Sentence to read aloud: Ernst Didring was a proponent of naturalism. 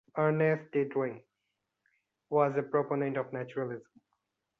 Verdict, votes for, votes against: accepted, 2, 0